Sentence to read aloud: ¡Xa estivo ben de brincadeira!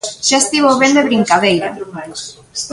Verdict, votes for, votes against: rejected, 1, 2